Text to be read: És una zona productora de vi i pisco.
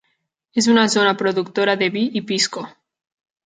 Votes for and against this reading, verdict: 3, 0, accepted